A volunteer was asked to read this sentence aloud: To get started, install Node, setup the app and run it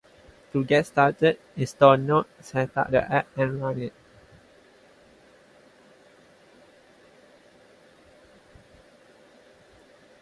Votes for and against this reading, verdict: 2, 2, rejected